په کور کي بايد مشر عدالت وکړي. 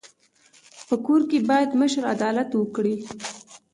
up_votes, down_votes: 2, 0